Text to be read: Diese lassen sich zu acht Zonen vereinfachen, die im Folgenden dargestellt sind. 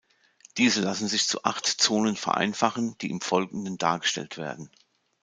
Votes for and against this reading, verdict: 0, 2, rejected